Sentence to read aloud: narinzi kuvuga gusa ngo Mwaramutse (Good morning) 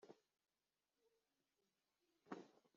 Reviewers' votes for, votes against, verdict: 0, 2, rejected